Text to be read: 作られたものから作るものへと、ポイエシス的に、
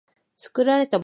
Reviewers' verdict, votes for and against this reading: rejected, 0, 2